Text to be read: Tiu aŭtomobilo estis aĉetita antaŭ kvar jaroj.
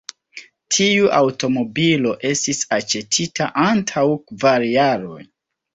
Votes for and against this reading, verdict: 3, 0, accepted